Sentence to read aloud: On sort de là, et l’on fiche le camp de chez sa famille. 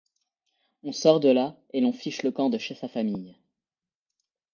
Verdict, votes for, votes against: accepted, 2, 0